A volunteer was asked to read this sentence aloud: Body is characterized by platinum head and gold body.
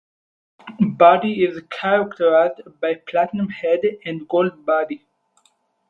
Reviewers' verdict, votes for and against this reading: accepted, 4, 2